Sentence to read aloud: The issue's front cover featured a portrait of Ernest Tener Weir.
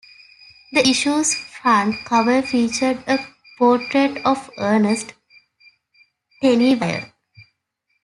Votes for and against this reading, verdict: 1, 2, rejected